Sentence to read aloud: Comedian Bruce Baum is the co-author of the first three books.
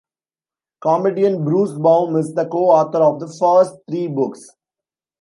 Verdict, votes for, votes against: rejected, 1, 2